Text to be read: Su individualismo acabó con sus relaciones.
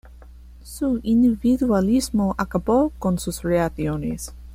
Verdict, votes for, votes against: rejected, 0, 2